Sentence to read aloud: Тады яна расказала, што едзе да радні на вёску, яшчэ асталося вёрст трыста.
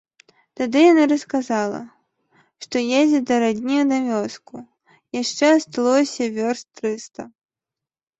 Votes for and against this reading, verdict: 2, 0, accepted